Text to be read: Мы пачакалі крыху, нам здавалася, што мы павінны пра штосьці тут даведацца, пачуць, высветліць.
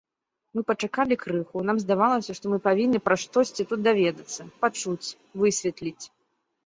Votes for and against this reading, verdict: 2, 0, accepted